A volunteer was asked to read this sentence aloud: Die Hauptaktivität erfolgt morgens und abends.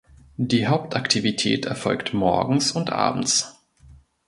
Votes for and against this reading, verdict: 2, 0, accepted